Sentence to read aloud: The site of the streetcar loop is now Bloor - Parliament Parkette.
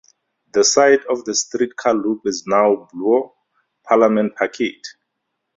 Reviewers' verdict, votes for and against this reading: rejected, 2, 2